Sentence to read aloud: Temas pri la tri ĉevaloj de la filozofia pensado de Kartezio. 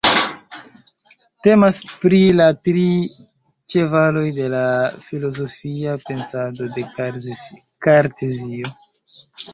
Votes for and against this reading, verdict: 0, 2, rejected